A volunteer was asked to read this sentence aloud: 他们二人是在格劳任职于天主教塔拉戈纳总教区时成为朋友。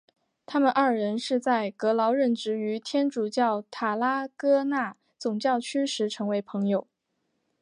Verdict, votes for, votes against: accepted, 2, 0